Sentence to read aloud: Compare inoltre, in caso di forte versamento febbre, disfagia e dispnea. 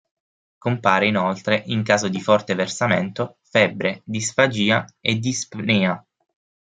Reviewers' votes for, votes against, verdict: 6, 0, accepted